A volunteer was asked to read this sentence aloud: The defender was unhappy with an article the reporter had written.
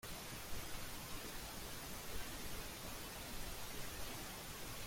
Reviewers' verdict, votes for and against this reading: rejected, 0, 2